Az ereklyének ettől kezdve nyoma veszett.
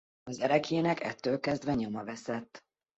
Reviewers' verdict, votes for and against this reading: accepted, 2, 0